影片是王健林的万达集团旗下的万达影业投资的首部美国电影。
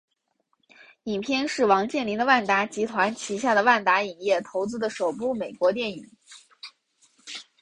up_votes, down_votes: 3, 1